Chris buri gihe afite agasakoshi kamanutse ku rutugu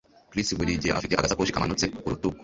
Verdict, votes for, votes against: rejected, 0, 2